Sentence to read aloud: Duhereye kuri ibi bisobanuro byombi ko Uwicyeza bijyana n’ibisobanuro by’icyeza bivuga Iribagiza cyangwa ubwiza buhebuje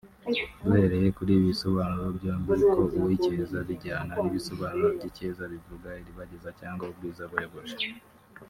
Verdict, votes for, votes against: rejected, 1, 2